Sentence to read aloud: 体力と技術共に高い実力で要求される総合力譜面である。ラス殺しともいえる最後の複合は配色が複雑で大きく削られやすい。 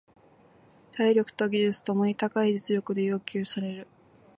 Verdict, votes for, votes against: rejected, 0, 2